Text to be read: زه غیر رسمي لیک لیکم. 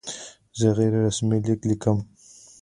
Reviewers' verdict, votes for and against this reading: accepted, 2, 0